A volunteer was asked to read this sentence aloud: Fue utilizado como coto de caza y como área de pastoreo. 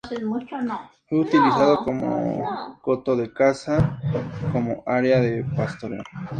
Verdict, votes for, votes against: accepted, 2, 0